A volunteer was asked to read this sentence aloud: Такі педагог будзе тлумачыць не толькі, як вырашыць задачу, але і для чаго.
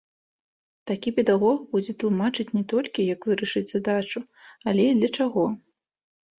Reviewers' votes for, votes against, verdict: 2, 0, accepted